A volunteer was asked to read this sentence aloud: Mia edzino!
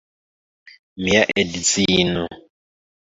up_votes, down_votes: 2, 1